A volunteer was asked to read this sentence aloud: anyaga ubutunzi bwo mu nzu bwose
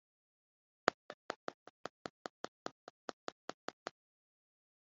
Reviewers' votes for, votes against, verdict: 0, 2, rejected